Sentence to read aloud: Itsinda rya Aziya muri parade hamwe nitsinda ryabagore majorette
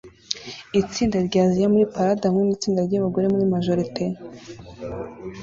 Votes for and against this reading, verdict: 2, 0, accepted